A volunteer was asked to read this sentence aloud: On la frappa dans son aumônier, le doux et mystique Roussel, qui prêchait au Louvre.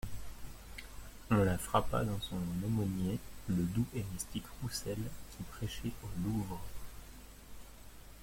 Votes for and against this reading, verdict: 0, 2, rejected